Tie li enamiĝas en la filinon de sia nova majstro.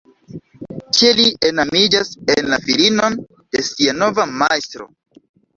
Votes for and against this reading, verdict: 1, 2, rejected